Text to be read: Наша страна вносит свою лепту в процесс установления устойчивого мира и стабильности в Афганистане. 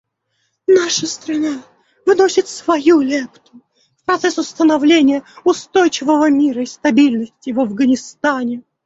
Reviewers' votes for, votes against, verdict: 0, 2, rejected